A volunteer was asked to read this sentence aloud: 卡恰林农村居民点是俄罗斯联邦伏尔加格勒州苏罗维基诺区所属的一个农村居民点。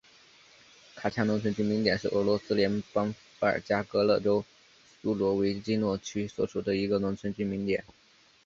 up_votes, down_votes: 1, 2